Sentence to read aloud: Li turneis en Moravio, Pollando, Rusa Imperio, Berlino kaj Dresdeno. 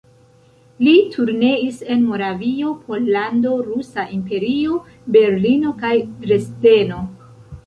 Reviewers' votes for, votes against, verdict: 2, 1, accepted